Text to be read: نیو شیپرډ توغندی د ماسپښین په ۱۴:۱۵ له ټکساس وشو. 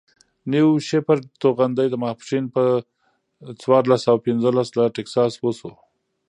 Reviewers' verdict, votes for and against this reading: rejected, 0, 2